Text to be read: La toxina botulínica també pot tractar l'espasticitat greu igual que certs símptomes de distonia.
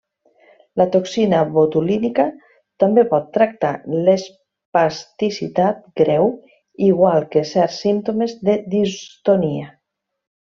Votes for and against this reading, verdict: 1, 2, rejected